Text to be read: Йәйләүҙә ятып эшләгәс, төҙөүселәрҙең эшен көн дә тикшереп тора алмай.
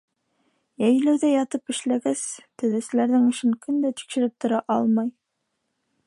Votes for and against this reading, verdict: 2, 1, accepted